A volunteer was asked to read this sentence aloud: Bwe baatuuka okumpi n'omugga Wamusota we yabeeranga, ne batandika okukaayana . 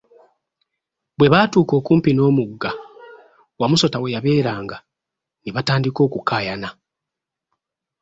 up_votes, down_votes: 2, 0